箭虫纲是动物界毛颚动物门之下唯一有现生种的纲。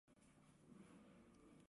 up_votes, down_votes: 1, 4